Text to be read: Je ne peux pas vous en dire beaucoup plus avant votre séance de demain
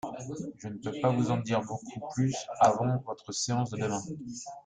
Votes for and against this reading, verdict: 0, 2, rejected